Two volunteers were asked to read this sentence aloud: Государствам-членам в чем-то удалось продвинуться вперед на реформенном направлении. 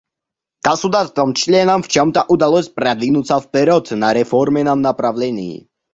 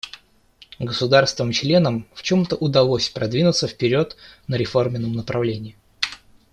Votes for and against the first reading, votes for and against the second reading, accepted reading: 0, 2, 2, 0, second